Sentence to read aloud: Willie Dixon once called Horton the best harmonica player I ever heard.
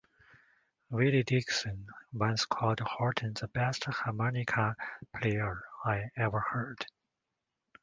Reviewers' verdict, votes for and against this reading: rejected, 1, 2